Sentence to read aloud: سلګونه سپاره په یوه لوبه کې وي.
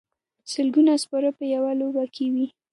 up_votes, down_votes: 2, 0